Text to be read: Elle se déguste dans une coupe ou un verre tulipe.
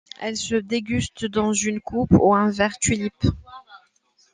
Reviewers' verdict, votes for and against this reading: accepted, 2, 0